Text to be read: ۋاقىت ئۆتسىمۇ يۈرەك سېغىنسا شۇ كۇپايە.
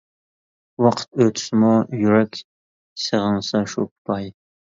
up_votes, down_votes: 1, 2